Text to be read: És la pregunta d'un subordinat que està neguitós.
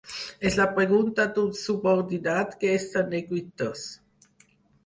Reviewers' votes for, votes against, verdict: 4, 0, accepted